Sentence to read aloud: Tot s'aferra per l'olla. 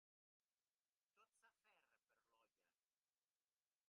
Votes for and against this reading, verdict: 2, 1, accepted